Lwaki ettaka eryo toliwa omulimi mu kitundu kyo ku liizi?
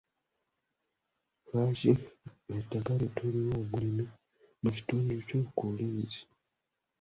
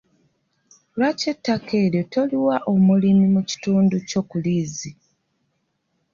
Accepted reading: second